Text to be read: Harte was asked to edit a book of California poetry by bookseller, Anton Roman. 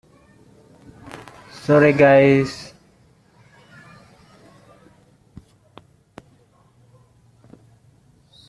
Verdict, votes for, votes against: rejected, 0, 2